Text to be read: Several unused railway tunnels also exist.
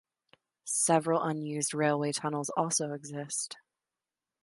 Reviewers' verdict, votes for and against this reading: accepted, 2, 0